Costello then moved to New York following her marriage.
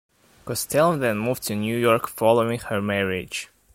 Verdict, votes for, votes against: accepted, 2, 1